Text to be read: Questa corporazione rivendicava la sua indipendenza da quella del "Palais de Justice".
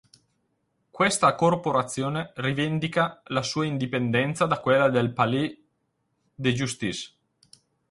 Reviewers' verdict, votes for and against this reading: rejected, 0, 4